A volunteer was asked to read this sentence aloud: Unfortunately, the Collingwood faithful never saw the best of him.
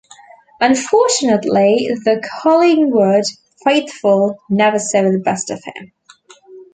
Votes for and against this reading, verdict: 1, 2, rejected